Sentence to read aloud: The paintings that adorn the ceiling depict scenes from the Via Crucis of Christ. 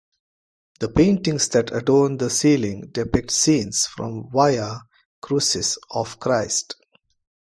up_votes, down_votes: 0, 2